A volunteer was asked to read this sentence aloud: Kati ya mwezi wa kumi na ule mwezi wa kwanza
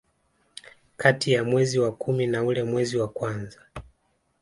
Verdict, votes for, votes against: rejected, 1, 2